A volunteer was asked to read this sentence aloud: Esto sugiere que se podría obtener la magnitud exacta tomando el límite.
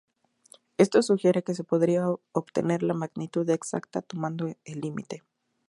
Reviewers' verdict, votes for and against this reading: accepted, 4, 2